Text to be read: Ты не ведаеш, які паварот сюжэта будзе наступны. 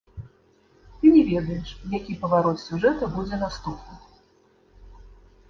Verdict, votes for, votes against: rejected, 1, 3